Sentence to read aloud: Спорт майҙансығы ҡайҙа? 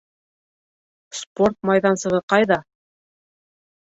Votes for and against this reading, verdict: 2, 1, accepted